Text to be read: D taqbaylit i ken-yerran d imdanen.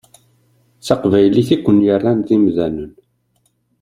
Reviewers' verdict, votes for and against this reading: accepted, 2, 0